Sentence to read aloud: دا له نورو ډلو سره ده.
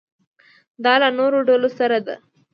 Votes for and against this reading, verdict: 2, 0, accepted